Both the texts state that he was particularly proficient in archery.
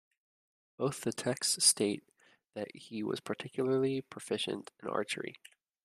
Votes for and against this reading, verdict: 2, 0, accepted